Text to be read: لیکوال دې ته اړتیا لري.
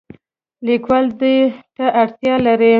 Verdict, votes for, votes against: rejected, 1, 2